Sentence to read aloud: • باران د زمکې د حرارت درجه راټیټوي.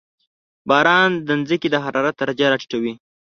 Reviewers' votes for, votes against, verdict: 1, 3, rejected